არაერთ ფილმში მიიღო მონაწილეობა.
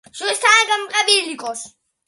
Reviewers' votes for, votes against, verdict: 1, 2, rejected